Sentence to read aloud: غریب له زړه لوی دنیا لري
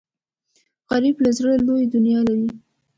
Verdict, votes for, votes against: accepted, 2, 1